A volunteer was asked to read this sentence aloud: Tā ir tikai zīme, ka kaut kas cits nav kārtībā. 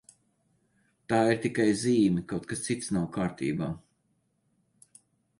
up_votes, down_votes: 0, 4